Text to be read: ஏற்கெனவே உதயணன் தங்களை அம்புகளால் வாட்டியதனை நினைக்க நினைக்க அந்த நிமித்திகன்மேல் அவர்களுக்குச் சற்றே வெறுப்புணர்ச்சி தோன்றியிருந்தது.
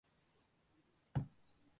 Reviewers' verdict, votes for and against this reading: rejected, 1, 2